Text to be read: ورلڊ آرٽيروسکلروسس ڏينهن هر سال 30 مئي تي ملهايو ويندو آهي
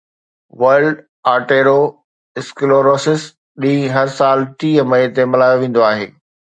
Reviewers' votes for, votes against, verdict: 0, 2, rejected